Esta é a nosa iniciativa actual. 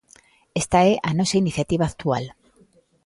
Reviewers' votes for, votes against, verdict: 2, 0, accepted